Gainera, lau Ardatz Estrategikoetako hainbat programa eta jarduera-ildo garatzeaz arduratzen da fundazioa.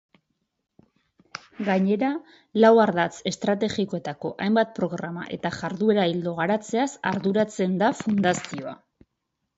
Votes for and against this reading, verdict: 2, 0, accepted